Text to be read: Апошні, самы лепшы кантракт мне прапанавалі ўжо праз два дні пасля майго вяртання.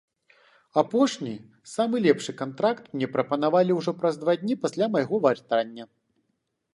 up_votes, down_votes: 0, 2